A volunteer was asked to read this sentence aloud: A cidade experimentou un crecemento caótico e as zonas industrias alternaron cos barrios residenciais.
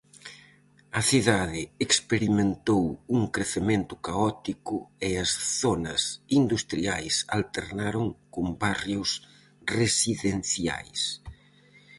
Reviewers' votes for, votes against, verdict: 0, 2, rejected